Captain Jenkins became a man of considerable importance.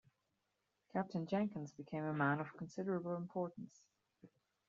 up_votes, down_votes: 0, 2